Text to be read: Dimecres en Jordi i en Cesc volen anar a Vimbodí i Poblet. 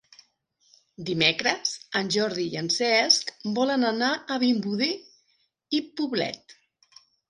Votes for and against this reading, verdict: 2, 0, accepted